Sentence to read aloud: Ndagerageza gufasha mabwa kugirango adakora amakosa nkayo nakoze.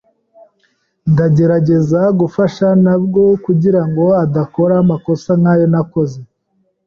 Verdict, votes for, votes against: accepted, 2, 0